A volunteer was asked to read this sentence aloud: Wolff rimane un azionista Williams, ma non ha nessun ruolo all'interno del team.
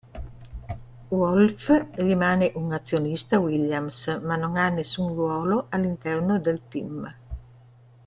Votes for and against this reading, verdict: 2, 0, accepted